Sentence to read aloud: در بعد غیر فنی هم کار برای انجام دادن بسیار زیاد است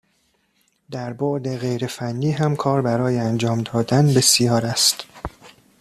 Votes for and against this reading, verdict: 0, 2, rejected